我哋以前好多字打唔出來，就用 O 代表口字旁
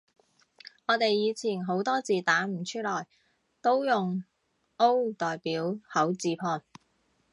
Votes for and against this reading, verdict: 0, 2, rejected